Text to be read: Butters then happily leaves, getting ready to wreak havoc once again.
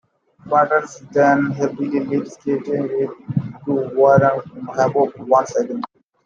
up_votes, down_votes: 0, 2